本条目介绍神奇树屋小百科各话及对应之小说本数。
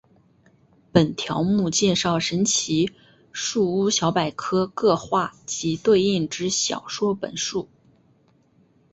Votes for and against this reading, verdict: 6, 0, accepted